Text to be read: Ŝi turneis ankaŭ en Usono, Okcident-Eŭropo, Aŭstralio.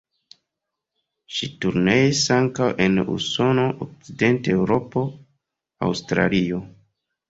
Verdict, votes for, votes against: rejected, 1, 2